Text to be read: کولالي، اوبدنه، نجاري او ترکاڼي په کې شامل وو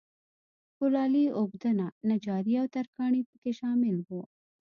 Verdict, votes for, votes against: accepted, 2, 0